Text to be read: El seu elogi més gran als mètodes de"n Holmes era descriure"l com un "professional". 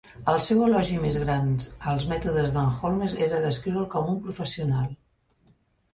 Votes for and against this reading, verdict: 0, 2, rejected